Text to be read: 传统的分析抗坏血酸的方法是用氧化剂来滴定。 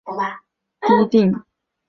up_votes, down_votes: 0, 2